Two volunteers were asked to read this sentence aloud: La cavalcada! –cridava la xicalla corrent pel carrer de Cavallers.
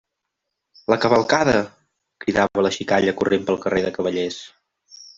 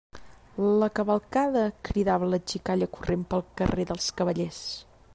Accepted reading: first